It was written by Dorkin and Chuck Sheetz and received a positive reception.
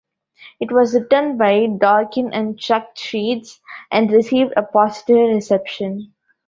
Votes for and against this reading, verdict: 2, 1, accepted